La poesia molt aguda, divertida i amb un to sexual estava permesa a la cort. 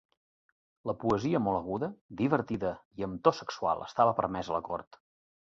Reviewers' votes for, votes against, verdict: 1, 2, rejected